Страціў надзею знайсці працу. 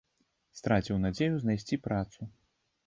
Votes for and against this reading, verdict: 2, 0, accepted